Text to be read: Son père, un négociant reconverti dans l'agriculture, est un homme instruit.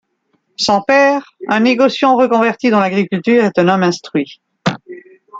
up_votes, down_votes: 2, 0